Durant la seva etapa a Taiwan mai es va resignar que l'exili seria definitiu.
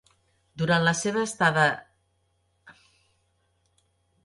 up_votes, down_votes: 0, 2